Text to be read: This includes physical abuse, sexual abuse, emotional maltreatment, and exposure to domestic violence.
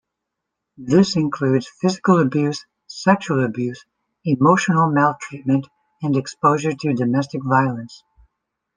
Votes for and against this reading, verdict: 2, 0, accepted